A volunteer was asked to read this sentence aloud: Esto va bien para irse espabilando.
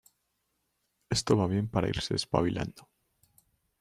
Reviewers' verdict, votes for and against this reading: accepted, 2, 1